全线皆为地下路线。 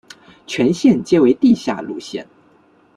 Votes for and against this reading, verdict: 2, 0, accepted